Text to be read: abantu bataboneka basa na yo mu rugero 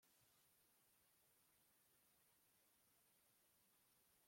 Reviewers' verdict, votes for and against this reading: rejected, 1, 2